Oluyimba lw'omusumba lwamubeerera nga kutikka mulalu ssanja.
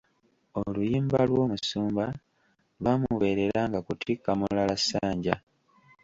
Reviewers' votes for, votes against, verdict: 1, 2, rejected